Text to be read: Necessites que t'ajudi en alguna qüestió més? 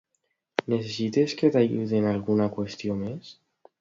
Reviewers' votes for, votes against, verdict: 2, 0, accepted